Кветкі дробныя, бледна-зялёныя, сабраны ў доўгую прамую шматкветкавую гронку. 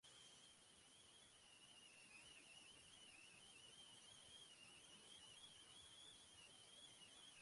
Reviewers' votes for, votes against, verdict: 0, 2, rejected